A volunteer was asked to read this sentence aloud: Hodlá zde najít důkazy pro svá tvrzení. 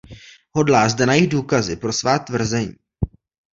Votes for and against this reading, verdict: 2, 1, accepted